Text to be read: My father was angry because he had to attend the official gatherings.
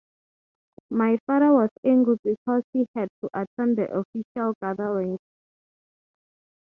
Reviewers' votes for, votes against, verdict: 6, 0, accepted